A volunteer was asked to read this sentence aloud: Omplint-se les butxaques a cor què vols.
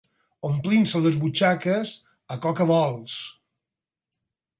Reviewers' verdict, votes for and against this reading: rejected, 0, 4